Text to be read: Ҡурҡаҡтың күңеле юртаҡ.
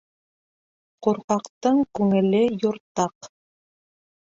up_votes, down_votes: 2, 0